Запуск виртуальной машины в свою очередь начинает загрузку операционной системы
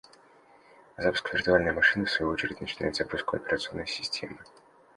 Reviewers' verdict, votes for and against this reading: accepted, 2, 0